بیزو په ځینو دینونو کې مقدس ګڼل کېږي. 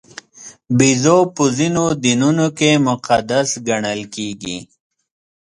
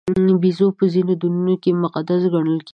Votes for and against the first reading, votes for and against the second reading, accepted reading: 2, 0, 1, 2, first